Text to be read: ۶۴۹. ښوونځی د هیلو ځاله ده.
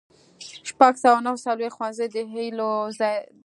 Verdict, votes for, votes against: rejected, 0, 2